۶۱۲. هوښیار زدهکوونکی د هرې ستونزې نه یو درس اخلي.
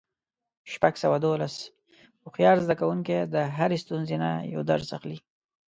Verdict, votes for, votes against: rejected, 0, 2